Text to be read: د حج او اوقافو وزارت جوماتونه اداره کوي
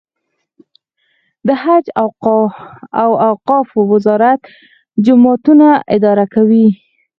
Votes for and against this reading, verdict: 0, 4, rejected